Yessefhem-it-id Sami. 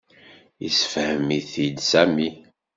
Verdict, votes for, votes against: accepted, 2, 0